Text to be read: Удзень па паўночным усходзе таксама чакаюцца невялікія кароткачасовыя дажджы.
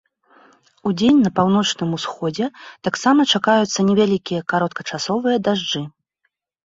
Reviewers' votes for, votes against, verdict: 0, 2, rejected